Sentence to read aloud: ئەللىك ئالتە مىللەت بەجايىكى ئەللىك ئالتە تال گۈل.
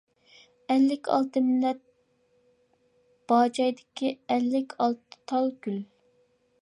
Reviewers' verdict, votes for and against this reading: rejected, 0, 2